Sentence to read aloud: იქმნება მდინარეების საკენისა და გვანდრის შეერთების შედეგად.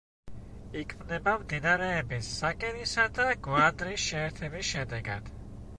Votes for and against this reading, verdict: 1, 2, rejected